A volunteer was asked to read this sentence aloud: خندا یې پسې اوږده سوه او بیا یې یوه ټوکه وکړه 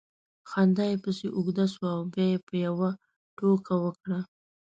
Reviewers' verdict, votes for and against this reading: rejected, 0, 2